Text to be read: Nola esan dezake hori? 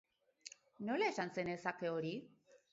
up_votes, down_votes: 2, 2